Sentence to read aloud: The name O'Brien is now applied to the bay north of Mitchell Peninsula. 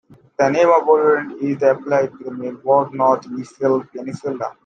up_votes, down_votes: 0, 2